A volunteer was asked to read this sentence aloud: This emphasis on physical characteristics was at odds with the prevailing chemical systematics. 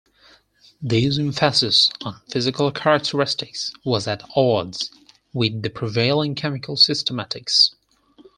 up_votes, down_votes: 4, 0